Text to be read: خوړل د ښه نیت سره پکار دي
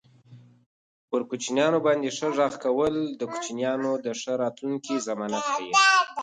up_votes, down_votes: 0, 2